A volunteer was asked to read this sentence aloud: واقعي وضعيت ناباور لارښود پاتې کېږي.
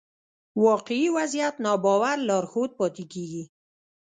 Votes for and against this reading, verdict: 0, 2, rejected